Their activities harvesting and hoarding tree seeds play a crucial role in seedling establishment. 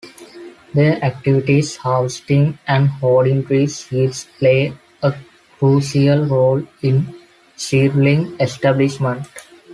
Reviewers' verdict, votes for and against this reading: rejected, 1, 2